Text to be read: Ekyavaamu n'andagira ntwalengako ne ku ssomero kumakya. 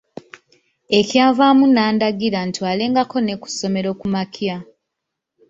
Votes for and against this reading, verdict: 1, 2, rejected